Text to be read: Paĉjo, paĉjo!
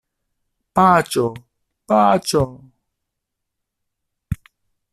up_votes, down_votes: 0, 2